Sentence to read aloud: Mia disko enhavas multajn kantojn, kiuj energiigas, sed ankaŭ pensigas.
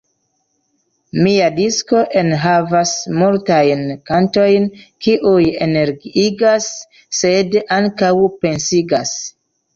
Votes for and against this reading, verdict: 2, 0, accepted